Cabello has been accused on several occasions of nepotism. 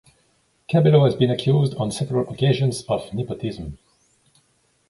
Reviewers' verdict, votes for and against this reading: accepted, 2, 0